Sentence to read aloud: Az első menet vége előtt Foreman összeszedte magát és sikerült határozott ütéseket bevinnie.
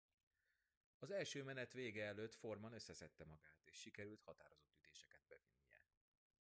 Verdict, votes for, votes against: rejected, 1, 2